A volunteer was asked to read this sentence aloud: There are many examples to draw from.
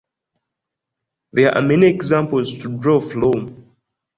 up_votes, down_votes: 2, 1